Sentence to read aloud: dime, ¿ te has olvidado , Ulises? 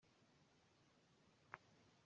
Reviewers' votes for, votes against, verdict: 0, 2, rejected